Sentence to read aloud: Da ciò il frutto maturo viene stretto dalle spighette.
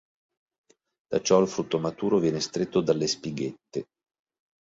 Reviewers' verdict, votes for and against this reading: accepted, 2, 0